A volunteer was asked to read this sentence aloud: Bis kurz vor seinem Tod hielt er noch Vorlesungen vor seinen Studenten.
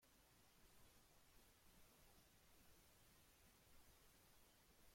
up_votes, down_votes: 0, 2